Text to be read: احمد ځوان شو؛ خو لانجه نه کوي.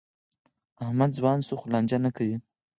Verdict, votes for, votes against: accepted, 4, 0